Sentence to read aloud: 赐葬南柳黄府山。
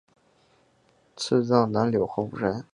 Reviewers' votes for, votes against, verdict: 2, 0, accepted